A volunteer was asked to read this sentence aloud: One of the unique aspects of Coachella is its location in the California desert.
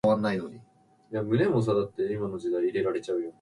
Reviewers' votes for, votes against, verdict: 0, 2, rejected